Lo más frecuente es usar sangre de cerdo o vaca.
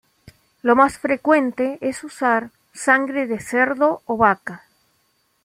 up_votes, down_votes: 2, 0